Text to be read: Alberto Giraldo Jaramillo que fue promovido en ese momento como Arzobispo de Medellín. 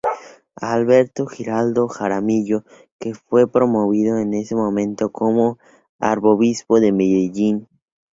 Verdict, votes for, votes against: rejected, 0, 2